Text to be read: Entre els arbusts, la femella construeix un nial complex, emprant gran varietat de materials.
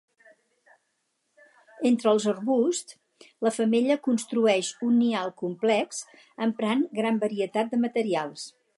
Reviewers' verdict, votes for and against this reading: accepted, 2, 0